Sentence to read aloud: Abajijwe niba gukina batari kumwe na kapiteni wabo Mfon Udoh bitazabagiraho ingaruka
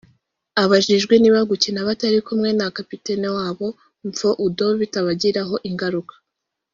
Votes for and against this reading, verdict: 1, 2, rejected